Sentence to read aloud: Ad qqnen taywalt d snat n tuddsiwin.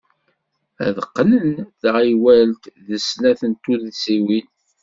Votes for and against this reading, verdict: 1, 2, rejected